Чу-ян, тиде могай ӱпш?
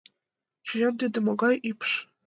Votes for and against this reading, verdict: 2, 1, accepted